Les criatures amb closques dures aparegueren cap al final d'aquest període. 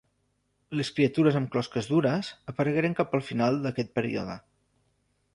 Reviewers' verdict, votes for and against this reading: accepted, 3, 0